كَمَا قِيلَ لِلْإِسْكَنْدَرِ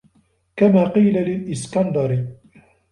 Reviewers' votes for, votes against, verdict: 2, 1, accepted